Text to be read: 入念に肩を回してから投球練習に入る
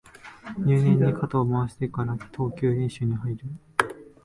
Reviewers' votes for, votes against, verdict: 1, 2, rejected